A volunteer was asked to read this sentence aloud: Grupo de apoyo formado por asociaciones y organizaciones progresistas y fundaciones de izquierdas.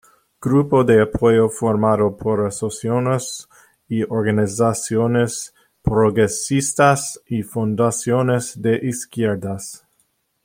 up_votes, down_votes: 1, 2